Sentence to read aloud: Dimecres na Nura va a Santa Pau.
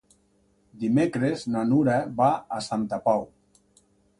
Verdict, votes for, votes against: accepted, 2, 0